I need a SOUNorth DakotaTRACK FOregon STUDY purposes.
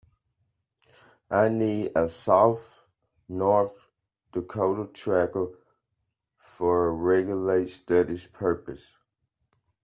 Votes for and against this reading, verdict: 0, 2, rejected